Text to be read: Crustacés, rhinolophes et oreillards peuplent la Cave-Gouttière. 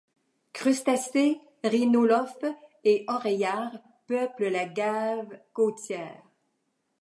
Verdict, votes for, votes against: rejected, 0, 2